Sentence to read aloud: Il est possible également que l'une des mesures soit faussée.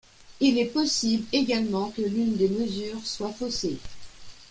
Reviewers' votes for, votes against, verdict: 2, 0, accepted